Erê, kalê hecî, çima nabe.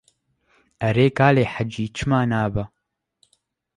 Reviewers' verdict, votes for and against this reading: rejected, 1, 2